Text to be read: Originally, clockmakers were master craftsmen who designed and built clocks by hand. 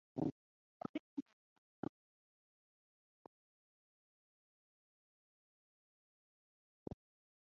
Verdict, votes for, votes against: rejected, 0, 9